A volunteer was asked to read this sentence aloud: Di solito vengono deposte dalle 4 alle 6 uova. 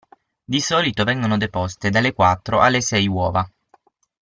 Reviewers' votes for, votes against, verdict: 0, 2, rejected